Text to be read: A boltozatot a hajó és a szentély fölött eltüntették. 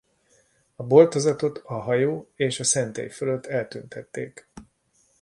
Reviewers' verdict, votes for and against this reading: accepted, 2, 0